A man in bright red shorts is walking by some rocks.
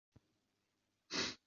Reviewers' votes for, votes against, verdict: 0, 2, rejected